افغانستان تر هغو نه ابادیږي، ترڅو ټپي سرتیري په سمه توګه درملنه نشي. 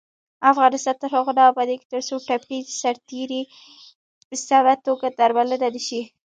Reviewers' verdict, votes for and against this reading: rejected, 1, 2